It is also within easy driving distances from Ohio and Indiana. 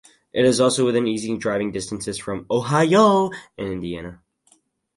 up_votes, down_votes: 4, 0